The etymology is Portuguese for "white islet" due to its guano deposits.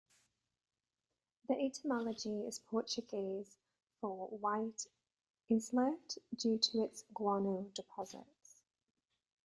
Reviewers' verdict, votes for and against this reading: rejected, 0, 2